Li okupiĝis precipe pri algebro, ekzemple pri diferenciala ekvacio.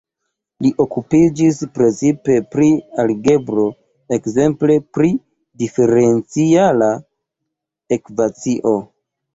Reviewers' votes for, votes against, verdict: 2, 1, accepted